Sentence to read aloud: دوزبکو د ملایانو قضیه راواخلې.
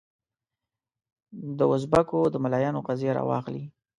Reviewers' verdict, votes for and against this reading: accepted, 2, 0